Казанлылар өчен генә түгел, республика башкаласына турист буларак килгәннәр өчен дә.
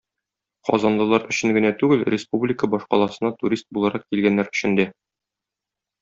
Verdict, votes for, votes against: accepted, 2, 0